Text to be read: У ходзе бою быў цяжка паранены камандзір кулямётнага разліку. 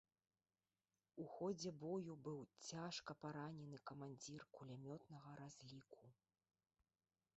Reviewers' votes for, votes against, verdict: 1, 2, rejected